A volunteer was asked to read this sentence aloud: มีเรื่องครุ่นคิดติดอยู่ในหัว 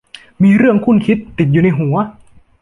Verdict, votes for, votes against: accepted, 2, 0